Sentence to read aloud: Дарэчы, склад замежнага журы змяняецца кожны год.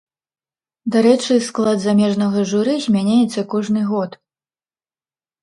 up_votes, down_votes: 2, 0